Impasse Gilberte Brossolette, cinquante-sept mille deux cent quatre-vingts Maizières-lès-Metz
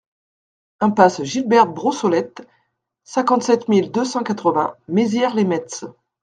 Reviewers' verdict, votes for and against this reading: accepted, 2, 1